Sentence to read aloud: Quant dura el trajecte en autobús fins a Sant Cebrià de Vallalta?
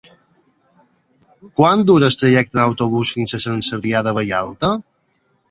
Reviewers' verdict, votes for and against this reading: rejected, 0, 2